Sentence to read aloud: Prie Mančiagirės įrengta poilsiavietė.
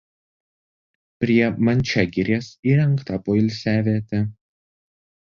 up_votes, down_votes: 1, 2